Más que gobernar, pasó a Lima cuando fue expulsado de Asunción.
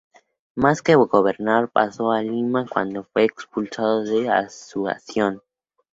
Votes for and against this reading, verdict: 0, 2, rejected